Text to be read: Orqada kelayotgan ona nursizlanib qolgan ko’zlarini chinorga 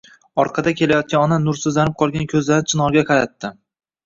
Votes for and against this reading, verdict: 1, 2, rejected